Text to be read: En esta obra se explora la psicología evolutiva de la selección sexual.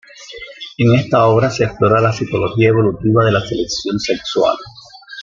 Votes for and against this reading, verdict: 2, 1, accepted